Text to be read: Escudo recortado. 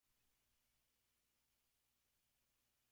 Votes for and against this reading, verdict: 0, 3, rejected